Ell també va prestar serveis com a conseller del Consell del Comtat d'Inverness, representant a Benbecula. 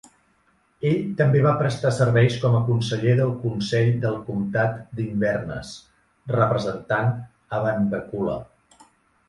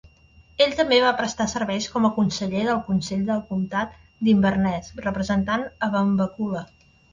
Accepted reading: second